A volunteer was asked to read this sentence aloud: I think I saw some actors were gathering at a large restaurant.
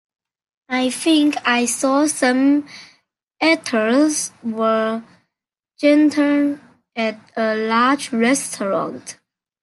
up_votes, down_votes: 0, 2